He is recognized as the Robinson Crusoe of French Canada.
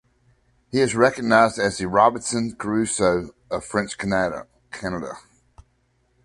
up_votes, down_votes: 0, 2